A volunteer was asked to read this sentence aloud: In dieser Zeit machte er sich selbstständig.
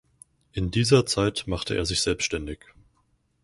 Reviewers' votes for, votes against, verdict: 4, 0, accepted